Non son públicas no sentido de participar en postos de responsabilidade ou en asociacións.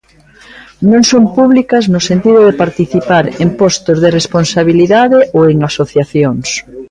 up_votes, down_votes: 2, 0